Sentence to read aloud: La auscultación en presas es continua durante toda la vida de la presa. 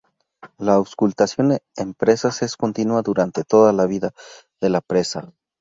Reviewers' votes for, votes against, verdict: 0, 2, rejected